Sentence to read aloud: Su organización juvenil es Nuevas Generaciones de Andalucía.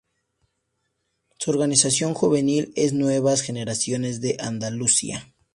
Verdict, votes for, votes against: accepted, 4, 0